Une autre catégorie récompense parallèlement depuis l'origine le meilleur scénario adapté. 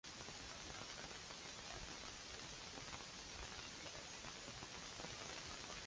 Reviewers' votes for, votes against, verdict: 0, 2, rejected